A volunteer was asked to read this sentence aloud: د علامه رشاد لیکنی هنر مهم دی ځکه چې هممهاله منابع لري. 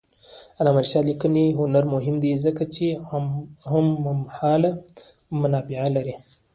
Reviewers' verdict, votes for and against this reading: accepted, 2, 0